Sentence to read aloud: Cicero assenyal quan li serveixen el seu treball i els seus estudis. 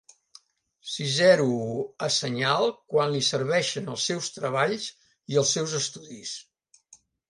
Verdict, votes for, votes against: rejected, 0, 2